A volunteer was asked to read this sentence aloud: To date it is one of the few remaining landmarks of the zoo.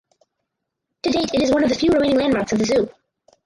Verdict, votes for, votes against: rejected, 2, 4